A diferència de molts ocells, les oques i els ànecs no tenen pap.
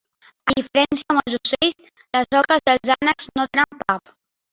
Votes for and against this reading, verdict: 1, 3, rejected